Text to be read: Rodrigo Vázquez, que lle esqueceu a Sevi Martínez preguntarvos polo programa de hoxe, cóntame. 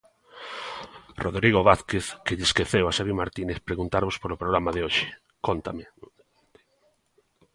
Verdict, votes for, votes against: accepted, 2, 0